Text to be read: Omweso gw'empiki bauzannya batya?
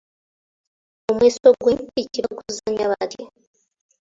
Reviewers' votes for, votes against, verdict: 1, 2, rejected